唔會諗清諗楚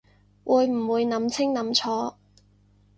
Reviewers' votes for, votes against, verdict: 0, 2, rejected